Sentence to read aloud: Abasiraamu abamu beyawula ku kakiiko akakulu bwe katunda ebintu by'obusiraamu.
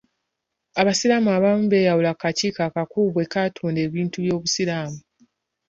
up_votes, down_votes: 3, 0